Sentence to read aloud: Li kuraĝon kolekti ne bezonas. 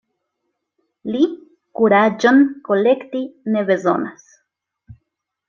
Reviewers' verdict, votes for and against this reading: accepted, 2, 0